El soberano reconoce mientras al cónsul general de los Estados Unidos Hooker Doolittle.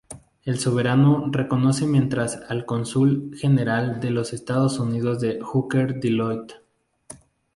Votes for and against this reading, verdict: 2, 2, rejected